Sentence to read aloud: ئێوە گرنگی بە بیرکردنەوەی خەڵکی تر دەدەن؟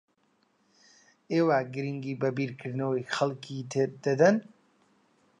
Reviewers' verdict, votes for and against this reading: accepted, 2, 0